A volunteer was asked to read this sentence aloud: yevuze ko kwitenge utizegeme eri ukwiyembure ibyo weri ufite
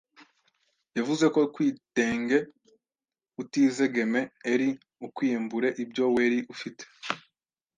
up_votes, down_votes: 1, 2